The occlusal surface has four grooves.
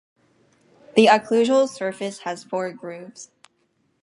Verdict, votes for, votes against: accepted, 4, 0